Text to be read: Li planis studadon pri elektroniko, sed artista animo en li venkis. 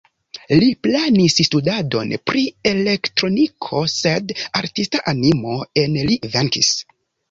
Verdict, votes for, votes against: accepted, 2, 0